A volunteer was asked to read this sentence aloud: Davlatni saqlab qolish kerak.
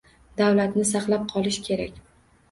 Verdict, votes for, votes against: rejected, 1, 2